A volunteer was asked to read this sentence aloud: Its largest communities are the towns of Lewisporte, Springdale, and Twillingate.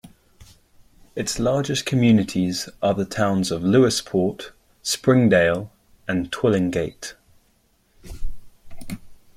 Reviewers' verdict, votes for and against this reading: accepted, 2, 0